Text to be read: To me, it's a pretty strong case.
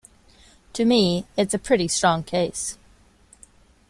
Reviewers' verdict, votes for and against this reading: accepted, 2, 0